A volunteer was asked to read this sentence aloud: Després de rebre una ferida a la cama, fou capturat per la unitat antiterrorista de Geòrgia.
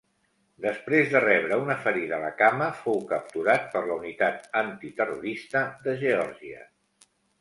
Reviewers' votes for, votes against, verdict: 3, 0, accepted